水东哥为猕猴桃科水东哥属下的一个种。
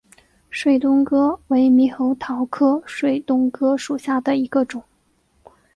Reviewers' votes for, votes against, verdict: 4, 2, accepted